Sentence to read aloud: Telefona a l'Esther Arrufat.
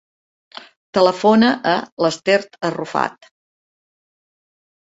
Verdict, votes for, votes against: accepted, 2, 0